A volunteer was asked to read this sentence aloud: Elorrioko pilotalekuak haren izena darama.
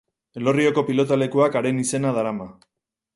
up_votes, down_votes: 4, 0